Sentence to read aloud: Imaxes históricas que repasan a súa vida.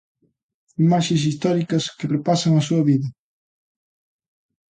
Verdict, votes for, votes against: accepted, 2, 0